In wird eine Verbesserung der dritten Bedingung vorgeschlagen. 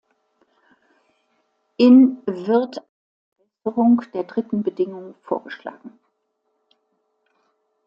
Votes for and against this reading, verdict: 0, 2, rejected